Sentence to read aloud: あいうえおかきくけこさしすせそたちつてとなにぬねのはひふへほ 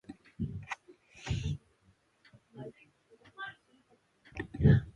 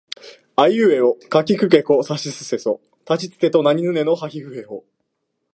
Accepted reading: second